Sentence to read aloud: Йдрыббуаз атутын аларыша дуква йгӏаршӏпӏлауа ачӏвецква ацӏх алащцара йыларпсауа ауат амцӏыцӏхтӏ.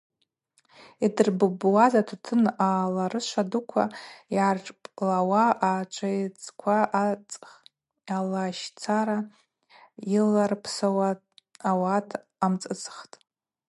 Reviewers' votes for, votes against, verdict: 4, 0, accepted